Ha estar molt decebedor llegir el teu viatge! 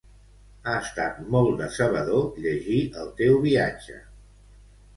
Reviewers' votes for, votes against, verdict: 2, 1, accepted